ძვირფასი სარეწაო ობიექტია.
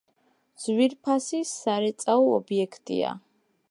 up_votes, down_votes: 2, 0